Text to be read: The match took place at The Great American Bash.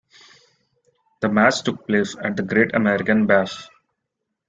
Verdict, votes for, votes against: accepted, 2, 0